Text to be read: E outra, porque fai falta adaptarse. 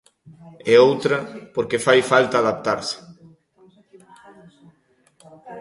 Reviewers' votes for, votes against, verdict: 2, 1, accepted